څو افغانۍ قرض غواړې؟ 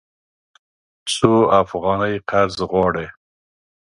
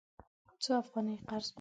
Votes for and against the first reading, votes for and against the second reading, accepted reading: 2, 0, 0, 2, first